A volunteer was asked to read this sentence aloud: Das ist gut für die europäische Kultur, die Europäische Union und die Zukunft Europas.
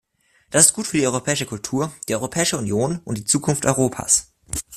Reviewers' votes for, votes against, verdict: 2, 0, accepted